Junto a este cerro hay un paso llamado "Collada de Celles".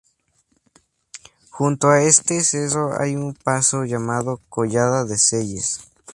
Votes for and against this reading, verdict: 2, 0, accepted